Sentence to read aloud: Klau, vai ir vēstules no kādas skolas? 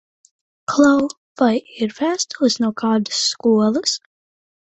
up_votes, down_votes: 2, 0